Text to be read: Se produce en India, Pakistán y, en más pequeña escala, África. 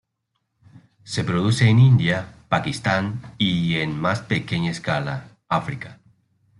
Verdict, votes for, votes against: accepted, 2, 0